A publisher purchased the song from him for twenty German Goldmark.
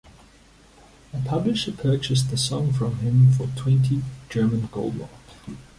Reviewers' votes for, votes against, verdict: 0, 2, rejected